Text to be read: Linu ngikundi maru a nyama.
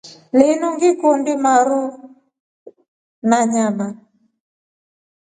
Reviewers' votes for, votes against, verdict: 2, 0, accepted